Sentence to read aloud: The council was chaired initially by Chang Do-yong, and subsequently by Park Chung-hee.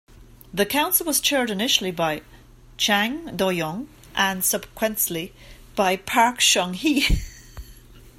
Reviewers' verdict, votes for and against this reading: rejected, 1, 2